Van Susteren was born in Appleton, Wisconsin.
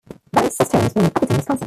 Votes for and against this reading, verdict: 0, 2, rejected